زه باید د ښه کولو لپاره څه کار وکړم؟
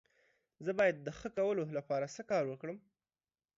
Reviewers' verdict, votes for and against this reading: accepted, 2, 0